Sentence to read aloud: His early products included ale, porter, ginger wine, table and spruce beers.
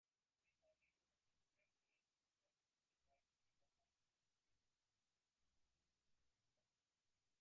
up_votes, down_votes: 0, 2